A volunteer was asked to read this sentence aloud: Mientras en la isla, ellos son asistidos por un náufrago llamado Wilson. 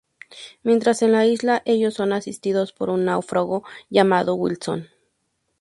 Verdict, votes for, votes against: accepted, 2, 0